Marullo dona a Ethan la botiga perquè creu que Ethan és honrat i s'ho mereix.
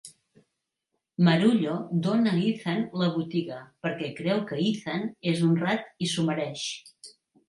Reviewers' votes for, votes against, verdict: 5, 0, accepted